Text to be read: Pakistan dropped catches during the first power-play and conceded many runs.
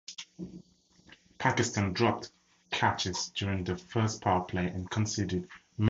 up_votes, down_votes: 0, 2